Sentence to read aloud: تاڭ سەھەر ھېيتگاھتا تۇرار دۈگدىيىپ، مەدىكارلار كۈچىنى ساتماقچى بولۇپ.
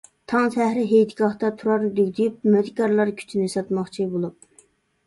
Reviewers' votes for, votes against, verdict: 0, 2, rejected